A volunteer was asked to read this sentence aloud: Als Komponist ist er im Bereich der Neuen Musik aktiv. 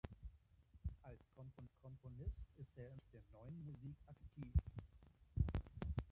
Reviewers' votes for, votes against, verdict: 0, 2, rejected